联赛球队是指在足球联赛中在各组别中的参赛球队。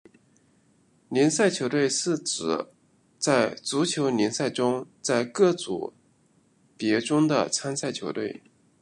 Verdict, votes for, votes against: accepted, 2, 0